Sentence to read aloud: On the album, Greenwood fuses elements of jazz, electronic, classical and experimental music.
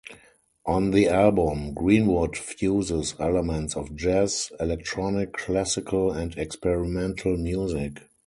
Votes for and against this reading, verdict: 0, 2, rejected